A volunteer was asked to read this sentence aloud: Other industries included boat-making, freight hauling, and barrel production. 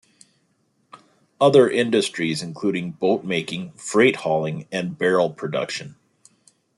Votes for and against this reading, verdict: 1, 2, rejected